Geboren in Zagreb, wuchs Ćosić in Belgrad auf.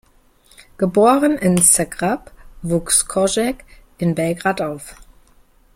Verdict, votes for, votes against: rejected, 0, 2